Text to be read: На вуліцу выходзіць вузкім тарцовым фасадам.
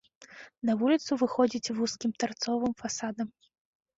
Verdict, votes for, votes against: accepted, 2, 0